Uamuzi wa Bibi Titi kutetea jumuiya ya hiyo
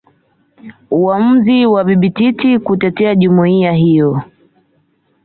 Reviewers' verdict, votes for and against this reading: rejected, 1, 2